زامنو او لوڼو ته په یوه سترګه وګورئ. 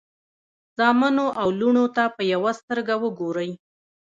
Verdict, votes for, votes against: rejected, 1, 2